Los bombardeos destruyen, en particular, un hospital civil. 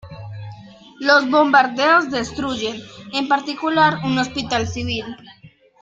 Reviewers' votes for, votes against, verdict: 1, 2, rejected